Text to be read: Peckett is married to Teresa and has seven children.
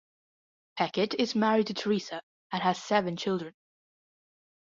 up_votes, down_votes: 2, 0